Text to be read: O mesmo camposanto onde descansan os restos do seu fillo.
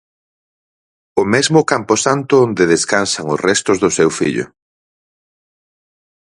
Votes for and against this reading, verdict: 6, 0, accepted